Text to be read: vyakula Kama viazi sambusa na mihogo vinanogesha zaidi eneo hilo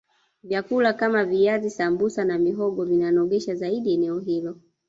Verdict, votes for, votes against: accepted, 2, 0